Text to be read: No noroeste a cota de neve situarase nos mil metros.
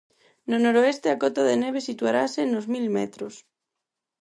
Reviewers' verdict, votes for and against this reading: accepted, 4, 0